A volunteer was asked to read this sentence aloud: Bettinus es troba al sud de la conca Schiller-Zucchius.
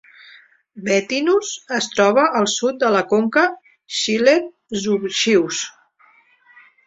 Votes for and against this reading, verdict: 0, 2, rejected